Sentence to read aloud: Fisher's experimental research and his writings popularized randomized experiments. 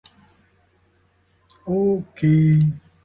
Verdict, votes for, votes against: rejected, 0, 2